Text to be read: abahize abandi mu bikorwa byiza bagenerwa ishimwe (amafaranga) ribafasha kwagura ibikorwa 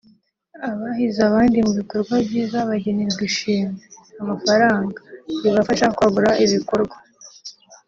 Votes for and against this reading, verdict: 2, 0, accepted